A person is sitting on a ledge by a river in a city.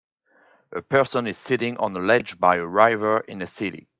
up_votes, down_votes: 1, 2